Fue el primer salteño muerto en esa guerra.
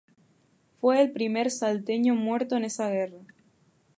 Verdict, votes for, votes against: rejected, 0, 2